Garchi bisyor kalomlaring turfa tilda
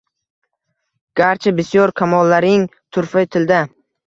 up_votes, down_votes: 1, 2